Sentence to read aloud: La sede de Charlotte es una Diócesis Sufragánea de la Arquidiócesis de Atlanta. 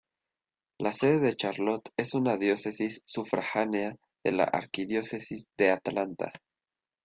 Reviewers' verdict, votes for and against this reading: rejected, 0, 2